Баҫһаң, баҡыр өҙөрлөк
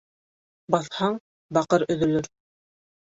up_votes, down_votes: 0, 2